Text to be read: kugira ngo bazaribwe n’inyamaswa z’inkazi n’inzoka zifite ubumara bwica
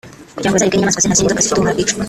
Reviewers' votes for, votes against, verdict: 0, 3, rejected